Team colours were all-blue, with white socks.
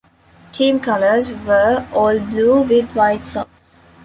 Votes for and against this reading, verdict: 1, 2, rejected